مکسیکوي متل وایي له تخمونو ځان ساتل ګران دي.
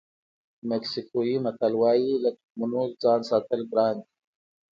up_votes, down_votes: 2, 0